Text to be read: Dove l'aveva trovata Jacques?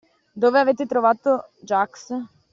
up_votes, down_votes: 1, 2